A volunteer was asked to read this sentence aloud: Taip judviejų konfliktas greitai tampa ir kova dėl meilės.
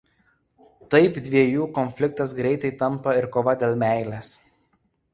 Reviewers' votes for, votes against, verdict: 1, 2, rejected